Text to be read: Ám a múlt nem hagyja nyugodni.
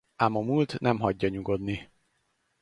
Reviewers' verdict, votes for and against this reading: accepted, 4, 0